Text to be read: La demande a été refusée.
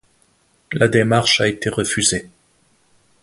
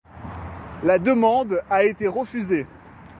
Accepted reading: second